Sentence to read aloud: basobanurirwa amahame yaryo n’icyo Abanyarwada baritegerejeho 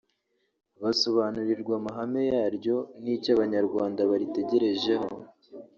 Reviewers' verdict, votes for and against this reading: rejected, 0, 2